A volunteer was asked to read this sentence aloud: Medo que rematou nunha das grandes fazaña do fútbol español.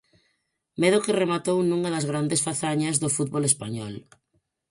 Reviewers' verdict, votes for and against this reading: rejected, 0, 4